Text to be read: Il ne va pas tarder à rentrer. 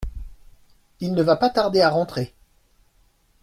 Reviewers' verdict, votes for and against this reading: accepted, 2, 1